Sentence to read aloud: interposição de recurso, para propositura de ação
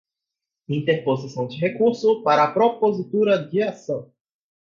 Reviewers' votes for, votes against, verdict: 0, 4, rejected